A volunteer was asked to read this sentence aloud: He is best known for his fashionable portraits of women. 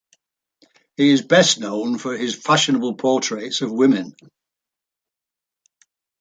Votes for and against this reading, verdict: 2, 1, accepted